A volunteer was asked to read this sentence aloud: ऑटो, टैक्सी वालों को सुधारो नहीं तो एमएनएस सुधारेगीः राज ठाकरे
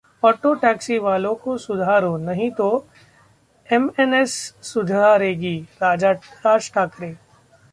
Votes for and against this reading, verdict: 0, 2, rejected